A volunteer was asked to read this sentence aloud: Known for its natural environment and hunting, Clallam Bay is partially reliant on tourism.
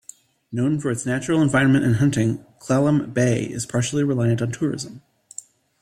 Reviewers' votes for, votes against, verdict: 2, 0, accepted